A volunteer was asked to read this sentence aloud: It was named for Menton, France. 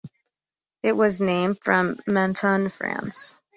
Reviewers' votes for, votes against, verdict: 0, 2, rejected